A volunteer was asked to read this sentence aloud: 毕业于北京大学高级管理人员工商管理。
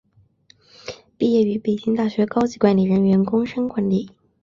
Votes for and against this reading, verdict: 2, 0, accepted